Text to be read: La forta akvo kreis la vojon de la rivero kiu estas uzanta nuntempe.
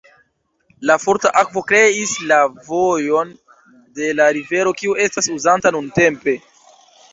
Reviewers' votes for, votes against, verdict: 2, 0, accepted